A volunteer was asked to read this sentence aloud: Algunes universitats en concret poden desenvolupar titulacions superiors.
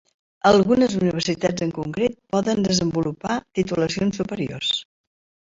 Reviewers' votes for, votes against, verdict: 3, 0, accepted